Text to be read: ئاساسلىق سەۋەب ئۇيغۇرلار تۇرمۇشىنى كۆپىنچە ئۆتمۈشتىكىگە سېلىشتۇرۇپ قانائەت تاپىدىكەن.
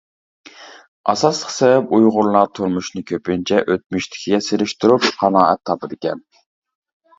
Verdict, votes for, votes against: rejected, 0, 2